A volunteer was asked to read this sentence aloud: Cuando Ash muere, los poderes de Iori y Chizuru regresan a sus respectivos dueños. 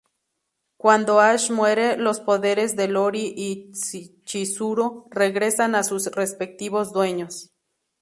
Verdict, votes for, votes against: rejected, 0, 4